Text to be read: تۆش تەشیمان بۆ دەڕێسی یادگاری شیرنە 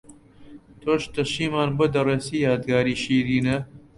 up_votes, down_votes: 0, 2